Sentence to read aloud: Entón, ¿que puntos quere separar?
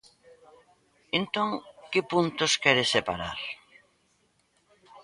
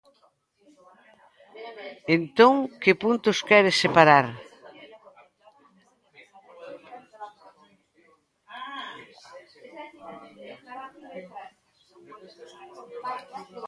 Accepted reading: second